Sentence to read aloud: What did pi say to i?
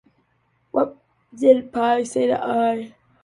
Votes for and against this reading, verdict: 2, 0, accepted